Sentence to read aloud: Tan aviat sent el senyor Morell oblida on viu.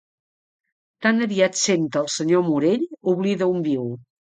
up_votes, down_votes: 2, 0